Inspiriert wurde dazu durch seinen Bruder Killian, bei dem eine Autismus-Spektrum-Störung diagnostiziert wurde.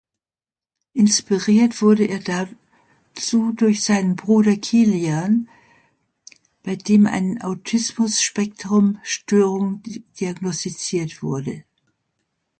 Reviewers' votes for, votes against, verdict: 1, 2, rejected